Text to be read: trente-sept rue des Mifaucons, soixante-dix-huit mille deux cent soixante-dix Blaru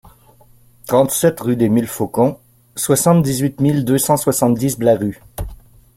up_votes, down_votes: 1, 2